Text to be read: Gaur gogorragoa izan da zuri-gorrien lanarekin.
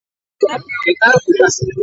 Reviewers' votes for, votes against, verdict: 0, 2, rejected